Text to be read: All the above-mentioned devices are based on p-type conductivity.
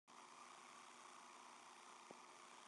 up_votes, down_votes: 0, 2